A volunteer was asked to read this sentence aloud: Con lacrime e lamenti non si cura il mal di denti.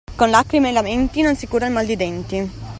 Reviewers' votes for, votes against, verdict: 2, 0, accepted